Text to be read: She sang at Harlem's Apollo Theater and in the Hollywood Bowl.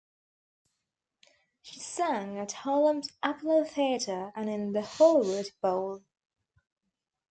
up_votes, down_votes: 0, 2